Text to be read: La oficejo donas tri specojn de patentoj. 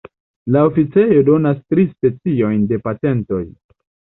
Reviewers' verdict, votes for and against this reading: rejected, 0, 2